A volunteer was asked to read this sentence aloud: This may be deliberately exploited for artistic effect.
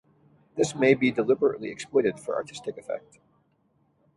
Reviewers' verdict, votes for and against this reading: accepted, 2, 0